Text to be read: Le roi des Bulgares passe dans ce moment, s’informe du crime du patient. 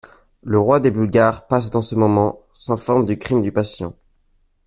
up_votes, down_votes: 2, 0